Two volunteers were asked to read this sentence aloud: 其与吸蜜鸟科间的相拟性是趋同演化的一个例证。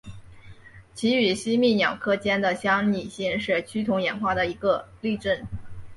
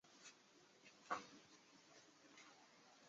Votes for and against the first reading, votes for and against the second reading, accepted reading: 2, 1, 0, 3, first